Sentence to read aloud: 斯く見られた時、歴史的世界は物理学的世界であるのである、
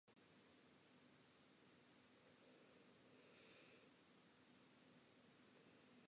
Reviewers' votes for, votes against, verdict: 1, 11, rejected